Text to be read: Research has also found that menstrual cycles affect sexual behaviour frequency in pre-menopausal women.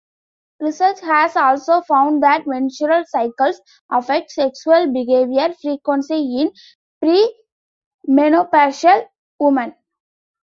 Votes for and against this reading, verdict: 0, 2, rejected